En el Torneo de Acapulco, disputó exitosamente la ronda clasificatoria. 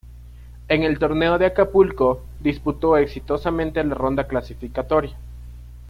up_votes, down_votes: 2, 0